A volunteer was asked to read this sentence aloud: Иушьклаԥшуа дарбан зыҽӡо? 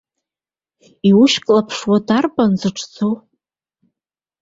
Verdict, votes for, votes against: accepted, 2, 0